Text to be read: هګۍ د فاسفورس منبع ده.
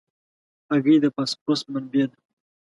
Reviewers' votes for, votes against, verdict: 2, 0, accepted